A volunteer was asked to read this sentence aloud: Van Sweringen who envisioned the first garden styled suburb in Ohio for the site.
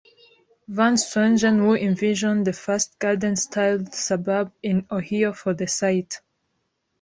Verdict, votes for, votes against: rejected, 0, 2